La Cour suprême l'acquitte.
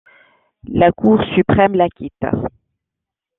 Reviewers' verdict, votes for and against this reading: accepted, 2, 1